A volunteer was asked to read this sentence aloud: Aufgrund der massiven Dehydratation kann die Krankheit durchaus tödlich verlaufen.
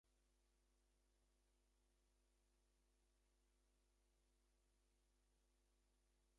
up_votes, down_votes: 0, 2